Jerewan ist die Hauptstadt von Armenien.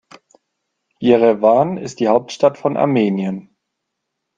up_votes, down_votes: 2, 0